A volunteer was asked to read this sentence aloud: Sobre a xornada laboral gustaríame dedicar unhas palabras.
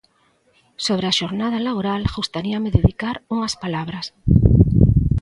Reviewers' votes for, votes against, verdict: 2, 0, accepted